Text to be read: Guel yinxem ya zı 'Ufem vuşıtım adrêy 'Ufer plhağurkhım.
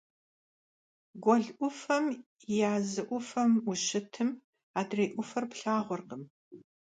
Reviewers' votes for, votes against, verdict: 0, 2, rejected